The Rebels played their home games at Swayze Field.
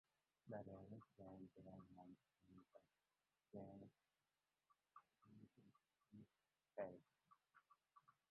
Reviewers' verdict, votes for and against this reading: rejected, 0, 2